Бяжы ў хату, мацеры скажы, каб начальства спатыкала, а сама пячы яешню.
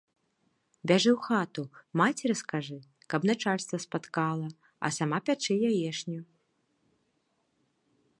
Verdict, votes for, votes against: rejected, 1, 2